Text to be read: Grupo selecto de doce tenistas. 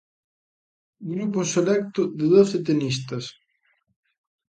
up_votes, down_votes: 2, 0